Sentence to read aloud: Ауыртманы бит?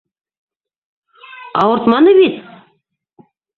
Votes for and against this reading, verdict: 0, 2, rejected